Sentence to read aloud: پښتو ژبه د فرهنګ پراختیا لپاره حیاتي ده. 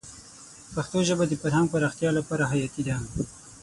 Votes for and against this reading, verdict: 6, 0, accepted